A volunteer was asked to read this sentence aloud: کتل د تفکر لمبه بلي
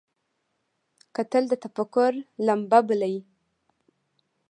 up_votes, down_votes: 2, 0